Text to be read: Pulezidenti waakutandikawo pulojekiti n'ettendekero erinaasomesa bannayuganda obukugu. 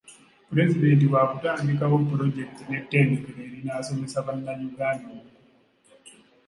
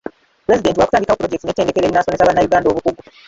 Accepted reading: first